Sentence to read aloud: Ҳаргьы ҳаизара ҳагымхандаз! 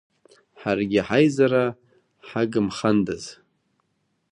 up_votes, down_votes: 2, 0